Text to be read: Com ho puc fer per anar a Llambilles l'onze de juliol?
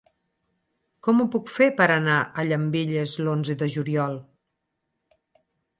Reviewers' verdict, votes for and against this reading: accepted, 4, 0